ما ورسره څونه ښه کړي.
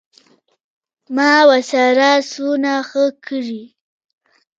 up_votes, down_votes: 0, 2